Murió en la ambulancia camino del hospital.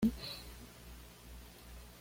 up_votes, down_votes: 1, 2